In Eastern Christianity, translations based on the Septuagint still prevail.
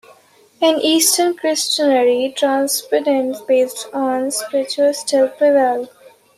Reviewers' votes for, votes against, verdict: 0, 2, rejected